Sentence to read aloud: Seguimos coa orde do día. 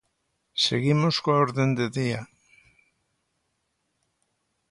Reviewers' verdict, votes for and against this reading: rejected, 0, 2